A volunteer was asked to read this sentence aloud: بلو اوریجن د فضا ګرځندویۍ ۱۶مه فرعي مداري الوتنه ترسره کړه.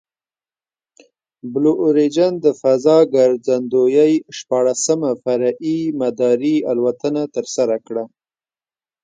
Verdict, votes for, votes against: rejected, 0, 2